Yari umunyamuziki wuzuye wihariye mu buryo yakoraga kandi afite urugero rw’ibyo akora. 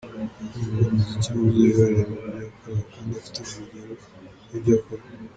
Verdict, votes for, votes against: rejected, 0, 2